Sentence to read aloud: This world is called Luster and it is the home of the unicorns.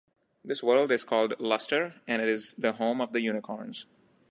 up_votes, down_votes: 2, 0